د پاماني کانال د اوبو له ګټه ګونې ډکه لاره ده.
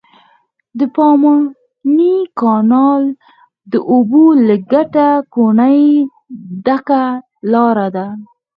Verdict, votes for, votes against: rejected, 2, 4